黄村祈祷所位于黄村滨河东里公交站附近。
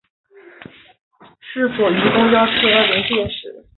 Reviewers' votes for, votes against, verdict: 2, 4, rejected